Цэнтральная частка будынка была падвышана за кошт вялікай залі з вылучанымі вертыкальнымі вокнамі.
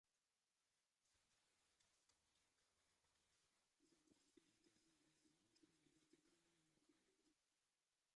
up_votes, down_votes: 0, 2